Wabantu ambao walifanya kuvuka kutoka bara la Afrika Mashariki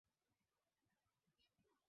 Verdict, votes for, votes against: rejected, 1, 10